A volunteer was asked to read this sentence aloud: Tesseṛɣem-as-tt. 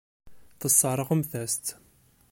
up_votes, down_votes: 1, 2